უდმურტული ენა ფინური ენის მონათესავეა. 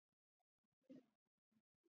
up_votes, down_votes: 0, 2